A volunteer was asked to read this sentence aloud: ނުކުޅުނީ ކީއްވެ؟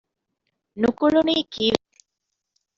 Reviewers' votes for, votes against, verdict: 0, 2, rejected